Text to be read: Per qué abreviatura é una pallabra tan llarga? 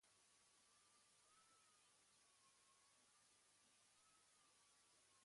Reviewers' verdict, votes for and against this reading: rejected, 1, 2